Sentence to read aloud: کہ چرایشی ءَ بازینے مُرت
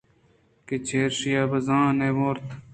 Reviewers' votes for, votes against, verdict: 1, 2, rejected